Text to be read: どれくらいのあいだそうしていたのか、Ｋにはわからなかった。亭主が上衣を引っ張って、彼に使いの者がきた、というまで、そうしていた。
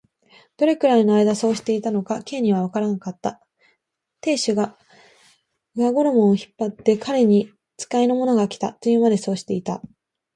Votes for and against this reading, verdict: 2, 0, accepted